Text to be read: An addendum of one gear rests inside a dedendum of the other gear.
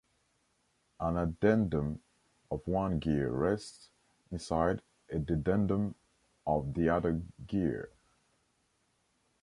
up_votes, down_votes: 2, 0